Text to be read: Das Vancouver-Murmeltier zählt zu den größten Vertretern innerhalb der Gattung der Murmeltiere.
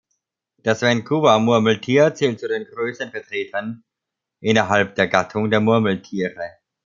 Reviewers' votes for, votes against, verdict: 2, 0, accepted